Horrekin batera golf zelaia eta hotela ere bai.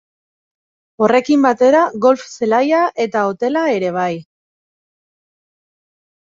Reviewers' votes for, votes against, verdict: 2, 0, accepted